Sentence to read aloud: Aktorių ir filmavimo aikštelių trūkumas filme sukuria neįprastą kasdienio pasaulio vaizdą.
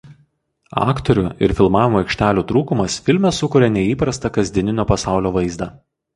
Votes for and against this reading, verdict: 0, 2, rejected